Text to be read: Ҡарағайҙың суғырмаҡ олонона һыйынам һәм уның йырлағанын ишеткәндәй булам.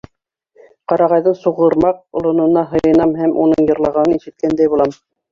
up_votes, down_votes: 1, 2